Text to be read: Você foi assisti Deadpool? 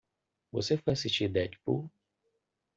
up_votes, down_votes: 2, 1